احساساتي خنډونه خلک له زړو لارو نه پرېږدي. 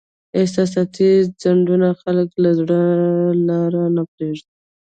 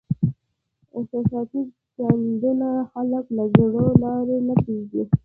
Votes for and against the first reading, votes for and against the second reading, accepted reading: 2, 0, 1, 2, first